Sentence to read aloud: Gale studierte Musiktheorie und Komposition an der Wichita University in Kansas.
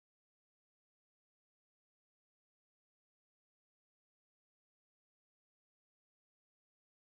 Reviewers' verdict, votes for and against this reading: rejected, 0, 2